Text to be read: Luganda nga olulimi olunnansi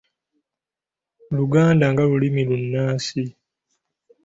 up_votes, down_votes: 2, 0